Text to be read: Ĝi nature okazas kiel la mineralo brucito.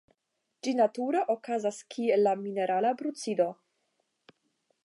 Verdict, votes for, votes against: rejected, 0, 10